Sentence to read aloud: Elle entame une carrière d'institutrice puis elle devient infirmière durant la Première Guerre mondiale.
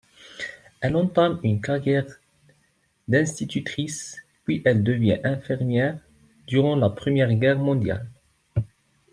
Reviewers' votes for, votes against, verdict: 2, 0, accepted